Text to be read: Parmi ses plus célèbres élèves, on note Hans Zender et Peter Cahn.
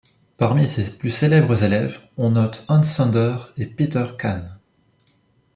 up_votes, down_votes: 1, 2